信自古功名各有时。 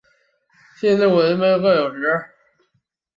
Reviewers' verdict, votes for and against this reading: rejected, 0, 2